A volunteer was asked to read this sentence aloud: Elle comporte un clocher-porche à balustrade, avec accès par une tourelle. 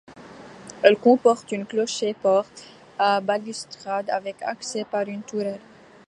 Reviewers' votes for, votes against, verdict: 2, 1, accepted